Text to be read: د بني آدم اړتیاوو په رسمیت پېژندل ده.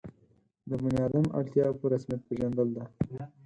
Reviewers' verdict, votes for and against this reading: rejected, 2, 4